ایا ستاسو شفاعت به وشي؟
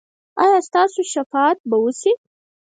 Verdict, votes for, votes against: rejected, 2, 4